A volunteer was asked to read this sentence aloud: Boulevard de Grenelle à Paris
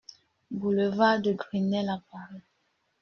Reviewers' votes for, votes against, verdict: 0, 2, rejected